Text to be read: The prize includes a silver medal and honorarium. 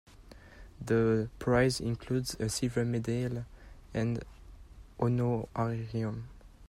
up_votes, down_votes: 0, 2